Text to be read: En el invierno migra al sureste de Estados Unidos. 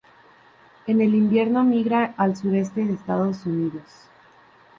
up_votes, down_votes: 2, 0